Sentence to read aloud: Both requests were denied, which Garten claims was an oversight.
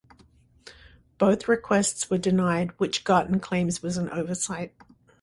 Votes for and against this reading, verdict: 2, 0, accepted